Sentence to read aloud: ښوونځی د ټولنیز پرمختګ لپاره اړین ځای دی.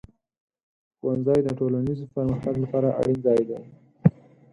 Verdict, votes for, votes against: accepted, 4, 0